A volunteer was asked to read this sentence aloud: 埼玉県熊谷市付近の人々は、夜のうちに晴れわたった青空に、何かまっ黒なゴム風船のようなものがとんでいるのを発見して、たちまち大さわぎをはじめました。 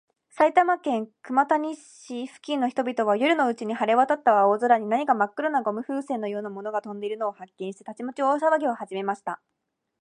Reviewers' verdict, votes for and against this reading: rejected, 1, 2